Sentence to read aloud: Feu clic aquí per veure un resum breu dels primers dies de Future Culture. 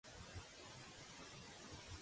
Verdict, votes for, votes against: rejected, 0, 2